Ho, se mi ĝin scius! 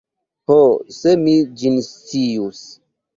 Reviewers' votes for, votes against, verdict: 1, 2, rejected